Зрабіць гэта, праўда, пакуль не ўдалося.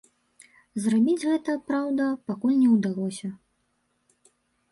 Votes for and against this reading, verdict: 2, 0, accepted